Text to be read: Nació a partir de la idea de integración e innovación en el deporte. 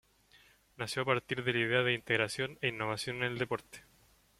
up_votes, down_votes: 2, 0